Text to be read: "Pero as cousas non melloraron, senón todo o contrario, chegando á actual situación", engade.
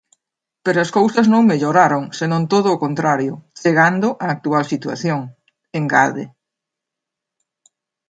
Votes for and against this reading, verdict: 2, 0, accepted